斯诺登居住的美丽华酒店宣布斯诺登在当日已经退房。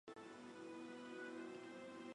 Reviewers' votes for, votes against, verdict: 0, 2, rejected